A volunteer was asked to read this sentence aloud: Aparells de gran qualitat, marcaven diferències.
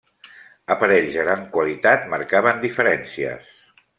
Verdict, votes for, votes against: accepted, 2, 0